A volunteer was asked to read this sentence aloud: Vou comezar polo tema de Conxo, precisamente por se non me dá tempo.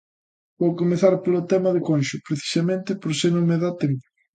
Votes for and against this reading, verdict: 2, 1, accepted